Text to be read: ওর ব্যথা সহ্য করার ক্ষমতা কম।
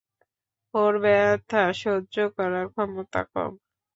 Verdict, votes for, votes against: accepted, 2, 0